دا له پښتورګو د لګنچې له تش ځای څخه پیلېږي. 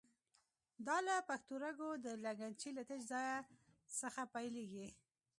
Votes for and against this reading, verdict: 0, 2, rejected